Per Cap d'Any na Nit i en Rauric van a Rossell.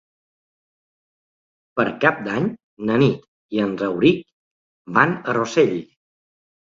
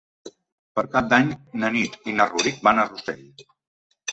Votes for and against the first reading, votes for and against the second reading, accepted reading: 2, 0, 0, 3, first